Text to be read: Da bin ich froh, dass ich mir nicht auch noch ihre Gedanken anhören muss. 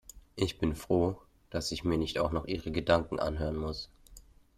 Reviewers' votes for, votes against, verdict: 0, 2, rejected